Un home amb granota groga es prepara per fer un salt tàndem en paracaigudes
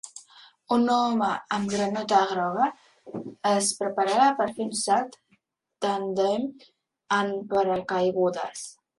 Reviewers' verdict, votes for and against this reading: rejected, 1, 2